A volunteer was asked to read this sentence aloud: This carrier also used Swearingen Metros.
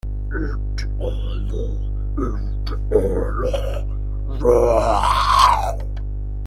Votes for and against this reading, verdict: 0, 2, rejected